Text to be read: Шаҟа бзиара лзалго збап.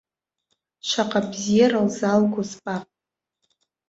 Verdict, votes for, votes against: accepted, 2, 0